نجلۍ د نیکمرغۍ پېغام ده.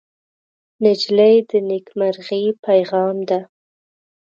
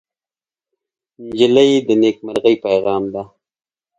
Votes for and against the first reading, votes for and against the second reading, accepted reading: 1, 2, 2, 0, second